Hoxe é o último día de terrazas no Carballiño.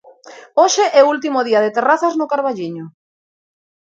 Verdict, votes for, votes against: accepted, 2, 0